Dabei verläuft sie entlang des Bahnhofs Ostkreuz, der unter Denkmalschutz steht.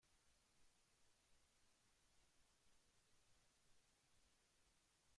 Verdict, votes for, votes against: rejected, 0, 2